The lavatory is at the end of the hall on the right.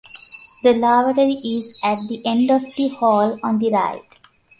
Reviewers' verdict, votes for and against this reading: accepted, 2, 0